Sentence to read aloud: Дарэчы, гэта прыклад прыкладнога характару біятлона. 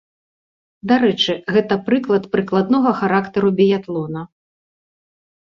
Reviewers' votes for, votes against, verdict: 2, 0, accepted